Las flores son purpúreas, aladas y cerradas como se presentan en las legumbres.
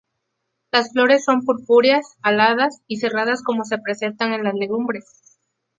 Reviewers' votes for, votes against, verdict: 2, 0, accepted